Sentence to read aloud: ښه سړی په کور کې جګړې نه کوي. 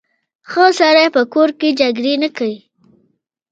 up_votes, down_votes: 3, 0